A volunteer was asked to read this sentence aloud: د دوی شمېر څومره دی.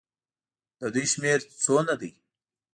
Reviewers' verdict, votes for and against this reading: rejected, 1, 2